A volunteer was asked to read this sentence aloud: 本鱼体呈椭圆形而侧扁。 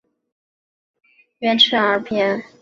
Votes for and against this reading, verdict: 3, 3, rejected